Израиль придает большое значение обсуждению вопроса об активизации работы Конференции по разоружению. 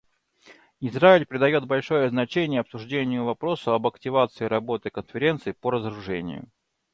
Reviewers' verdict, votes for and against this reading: accepted, 2, 0